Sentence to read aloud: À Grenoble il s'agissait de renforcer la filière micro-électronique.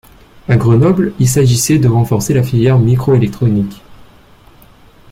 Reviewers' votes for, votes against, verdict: 2, 0, accepted